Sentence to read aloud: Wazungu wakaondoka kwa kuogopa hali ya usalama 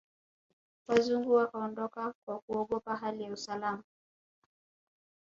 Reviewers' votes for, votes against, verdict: 1, 2, rejected